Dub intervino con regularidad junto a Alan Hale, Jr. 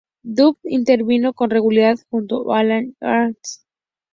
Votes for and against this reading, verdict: 0, 2, rejected